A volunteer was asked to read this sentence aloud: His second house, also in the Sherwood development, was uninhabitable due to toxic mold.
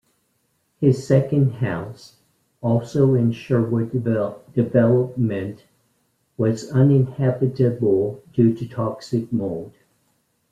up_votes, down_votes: 1, 2